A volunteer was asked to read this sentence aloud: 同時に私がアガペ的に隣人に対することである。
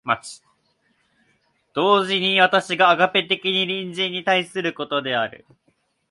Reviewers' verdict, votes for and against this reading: rejected, 1, 2